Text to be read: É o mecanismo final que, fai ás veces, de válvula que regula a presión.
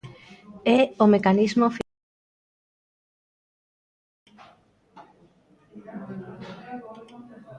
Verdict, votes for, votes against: rejected, 0, 2